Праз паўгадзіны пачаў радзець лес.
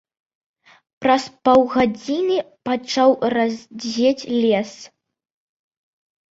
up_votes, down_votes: 1, 2